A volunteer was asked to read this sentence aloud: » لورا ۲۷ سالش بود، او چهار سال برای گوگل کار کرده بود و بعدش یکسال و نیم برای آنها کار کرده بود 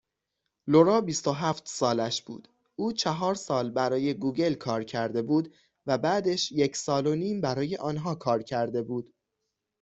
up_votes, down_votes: 0, 2